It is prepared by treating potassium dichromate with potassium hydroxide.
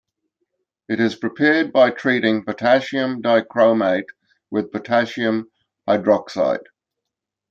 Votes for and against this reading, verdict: 2, 0, accepted